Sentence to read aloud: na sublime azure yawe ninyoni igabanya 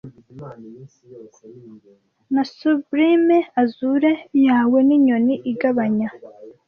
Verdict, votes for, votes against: rejected, 1, 2